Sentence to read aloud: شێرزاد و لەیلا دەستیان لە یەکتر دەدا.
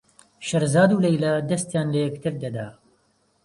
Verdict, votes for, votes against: accepted, 2, 0